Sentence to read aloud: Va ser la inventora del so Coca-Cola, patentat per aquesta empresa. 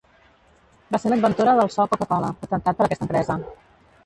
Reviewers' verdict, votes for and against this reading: rejected, 1, 2